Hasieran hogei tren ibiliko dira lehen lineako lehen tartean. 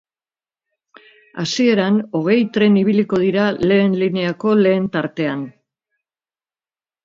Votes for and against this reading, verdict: 2, 0, accepted